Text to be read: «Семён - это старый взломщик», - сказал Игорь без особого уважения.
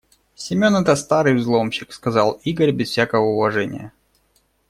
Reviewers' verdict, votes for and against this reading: rejected, 1, 2